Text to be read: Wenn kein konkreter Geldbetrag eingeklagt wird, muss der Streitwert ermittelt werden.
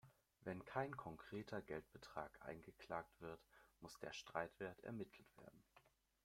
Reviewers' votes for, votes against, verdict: 0, 2, rejected